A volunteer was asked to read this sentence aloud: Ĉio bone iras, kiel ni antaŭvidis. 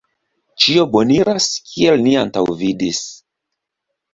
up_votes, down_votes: 0, 2